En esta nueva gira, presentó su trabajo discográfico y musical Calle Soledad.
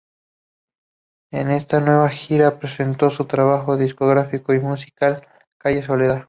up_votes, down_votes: 2, 0